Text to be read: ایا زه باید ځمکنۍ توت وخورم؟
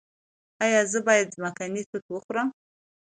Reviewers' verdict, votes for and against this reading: accepted, 2, 0